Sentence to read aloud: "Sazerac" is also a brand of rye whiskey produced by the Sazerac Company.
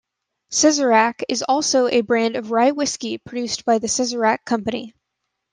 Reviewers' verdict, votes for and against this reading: accepted, 2, 0